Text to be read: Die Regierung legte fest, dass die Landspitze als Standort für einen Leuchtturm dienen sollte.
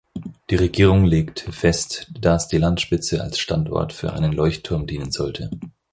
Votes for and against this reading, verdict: 2, 4, rejected